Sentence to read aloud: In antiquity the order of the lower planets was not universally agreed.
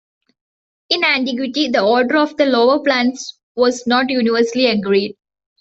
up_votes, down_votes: 2, 1